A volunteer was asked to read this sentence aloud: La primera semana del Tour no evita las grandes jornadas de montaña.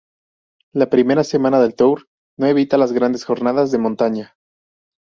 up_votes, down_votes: 0, 2